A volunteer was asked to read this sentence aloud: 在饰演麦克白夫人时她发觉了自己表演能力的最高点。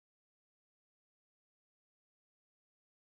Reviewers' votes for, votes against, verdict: 1, 4, rejected